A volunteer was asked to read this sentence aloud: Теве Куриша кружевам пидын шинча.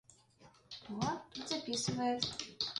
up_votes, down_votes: 0, 2